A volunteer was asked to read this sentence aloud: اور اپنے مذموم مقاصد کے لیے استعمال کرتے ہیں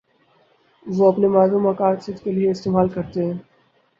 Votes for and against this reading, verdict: 0, 6, rejected